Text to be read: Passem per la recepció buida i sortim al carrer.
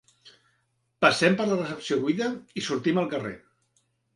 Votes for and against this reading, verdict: 3, 0, accepted